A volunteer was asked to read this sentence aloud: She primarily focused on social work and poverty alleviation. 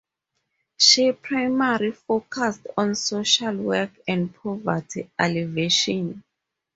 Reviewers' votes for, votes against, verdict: 2, 2, rejected